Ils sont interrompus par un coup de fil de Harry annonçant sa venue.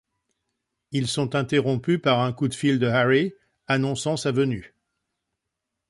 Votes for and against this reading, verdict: 2, 0, accepted